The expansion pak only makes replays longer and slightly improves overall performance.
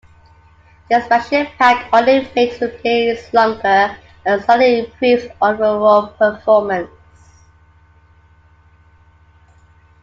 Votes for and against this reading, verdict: 0, 2, rejected